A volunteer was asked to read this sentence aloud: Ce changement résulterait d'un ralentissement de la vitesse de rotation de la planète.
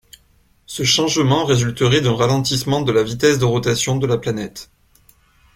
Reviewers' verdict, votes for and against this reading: accepted, 2, 0